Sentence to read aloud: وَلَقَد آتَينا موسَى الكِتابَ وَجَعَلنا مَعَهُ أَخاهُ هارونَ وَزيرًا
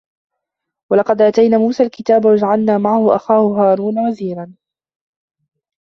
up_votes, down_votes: 1, 3